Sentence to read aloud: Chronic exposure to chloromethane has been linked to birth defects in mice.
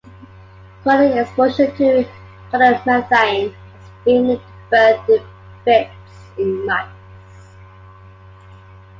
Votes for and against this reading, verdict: 1, 2, rejected